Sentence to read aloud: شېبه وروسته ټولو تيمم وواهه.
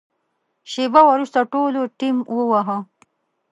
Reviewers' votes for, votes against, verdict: 0, 2, rejected